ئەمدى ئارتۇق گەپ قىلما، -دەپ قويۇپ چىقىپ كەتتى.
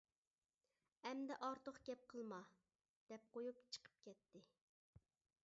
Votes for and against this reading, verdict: 2, 0, accepted